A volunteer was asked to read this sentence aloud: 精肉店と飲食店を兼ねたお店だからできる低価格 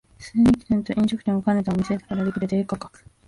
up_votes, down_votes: 0, 2